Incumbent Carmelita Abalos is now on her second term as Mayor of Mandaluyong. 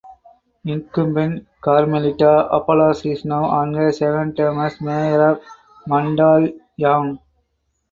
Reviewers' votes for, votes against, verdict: 2, 4, rejected